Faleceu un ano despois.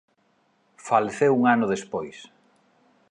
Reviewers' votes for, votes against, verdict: 2, 0, accepted